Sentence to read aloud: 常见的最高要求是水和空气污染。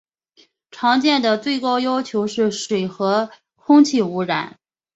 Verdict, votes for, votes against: accepted, 2, 1